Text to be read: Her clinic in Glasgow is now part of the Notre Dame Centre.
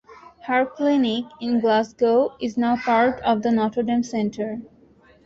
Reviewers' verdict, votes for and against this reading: accepted, 2, 0